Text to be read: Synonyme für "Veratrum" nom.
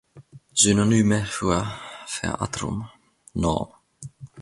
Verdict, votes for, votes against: rejected, 0, 2